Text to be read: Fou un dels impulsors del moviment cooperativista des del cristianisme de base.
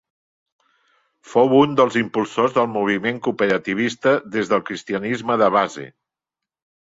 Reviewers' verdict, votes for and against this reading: accepted, 3, 0